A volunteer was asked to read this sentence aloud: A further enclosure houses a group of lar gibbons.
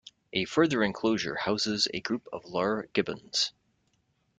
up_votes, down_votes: 2, 0